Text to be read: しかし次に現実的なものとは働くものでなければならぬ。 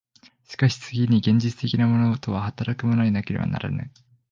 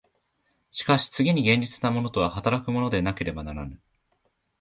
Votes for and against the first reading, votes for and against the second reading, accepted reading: 0, 2, 2, 0, second